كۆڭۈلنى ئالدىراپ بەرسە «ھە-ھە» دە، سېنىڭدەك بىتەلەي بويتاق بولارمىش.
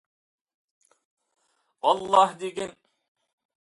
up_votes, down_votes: 0, 2